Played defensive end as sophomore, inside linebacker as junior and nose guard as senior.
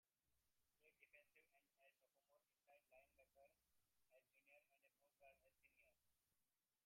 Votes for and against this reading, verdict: 0, 2, rejected